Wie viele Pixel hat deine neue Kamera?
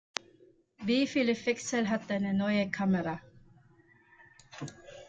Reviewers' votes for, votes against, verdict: 0, 2, rejected